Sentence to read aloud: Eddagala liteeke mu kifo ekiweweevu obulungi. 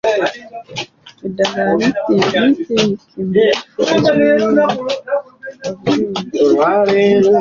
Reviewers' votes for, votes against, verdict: 0, 2, rejected